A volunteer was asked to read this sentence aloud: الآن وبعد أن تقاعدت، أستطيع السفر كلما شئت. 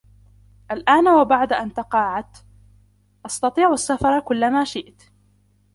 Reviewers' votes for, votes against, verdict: 0, 2, rejected